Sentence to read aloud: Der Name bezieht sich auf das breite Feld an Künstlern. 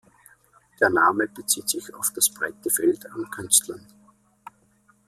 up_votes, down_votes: 2, 0